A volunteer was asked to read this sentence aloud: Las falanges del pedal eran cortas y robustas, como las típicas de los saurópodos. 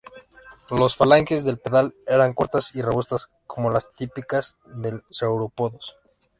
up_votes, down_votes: 1, 2